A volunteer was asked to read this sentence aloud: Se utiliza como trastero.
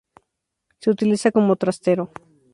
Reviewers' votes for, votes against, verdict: 2, 0, accepted